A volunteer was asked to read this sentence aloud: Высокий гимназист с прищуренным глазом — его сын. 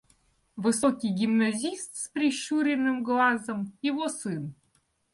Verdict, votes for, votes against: accepted, 2, 0